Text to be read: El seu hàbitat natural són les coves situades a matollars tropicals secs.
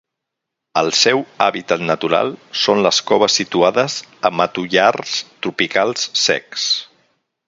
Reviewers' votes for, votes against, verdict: 4, 0, accepted